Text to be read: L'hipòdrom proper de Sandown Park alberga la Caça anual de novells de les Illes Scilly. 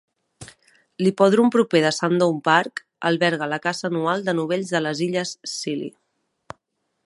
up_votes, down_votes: 2, 0